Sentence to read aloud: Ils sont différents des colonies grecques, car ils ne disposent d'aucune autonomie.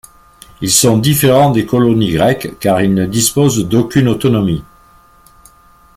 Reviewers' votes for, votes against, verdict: 2, 0, accepted